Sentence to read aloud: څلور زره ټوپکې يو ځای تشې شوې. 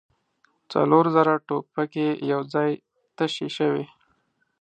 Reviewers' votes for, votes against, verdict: 0, 2, rejected